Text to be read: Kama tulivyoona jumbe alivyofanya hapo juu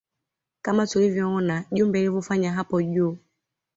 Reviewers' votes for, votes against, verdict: 2, 0, accepted